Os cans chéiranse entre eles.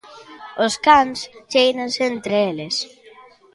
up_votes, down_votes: 2, 1